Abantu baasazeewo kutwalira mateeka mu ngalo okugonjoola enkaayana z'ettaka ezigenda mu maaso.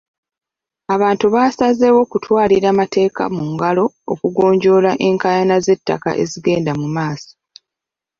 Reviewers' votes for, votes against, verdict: 2, 0, accepted